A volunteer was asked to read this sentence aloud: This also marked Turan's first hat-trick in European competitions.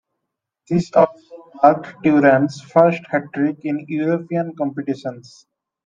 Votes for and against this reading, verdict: 1, 2, rejected